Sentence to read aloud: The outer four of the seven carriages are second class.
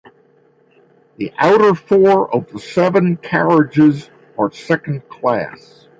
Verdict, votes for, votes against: accepted, 6, 0